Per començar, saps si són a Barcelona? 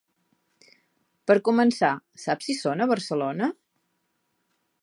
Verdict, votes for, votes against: accepted, 3, 0